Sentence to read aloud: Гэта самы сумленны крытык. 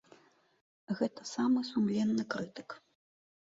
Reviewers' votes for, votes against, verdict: 2, 0, accepted